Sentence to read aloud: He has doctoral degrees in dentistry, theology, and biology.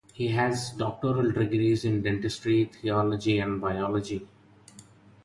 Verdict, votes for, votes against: rejected, 2, 2